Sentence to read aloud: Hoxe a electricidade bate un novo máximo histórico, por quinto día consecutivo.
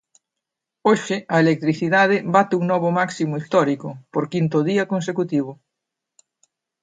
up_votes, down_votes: 2, 0